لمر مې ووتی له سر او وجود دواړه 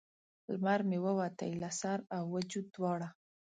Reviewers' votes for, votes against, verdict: 2, 0, accepted